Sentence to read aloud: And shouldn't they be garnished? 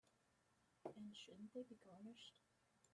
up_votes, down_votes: 0, 2